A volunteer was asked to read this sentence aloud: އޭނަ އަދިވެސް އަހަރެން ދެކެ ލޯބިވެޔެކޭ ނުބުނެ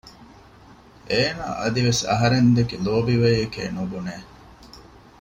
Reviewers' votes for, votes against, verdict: 2, 0, accepted